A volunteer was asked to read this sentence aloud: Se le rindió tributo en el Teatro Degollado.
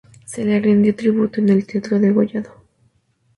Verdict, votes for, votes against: accepted, 2, 0